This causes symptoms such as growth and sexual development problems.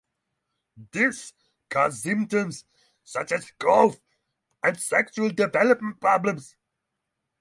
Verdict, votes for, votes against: rejected, 3, 6